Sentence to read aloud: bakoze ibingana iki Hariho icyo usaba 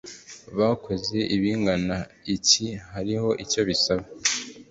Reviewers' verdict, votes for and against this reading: rejected, 1, 2